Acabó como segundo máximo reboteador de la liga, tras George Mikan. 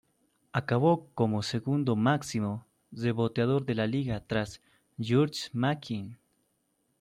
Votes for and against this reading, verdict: 1, 2, rejected